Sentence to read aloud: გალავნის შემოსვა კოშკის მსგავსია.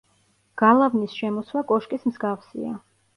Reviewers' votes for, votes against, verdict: 2, 0, accepted